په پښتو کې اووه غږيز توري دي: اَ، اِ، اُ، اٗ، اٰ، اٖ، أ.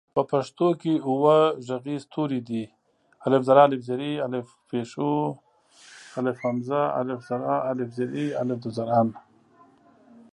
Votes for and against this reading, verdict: 2, 0, accepted